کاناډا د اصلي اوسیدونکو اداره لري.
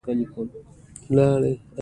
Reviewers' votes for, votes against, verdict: 2, 0, accepted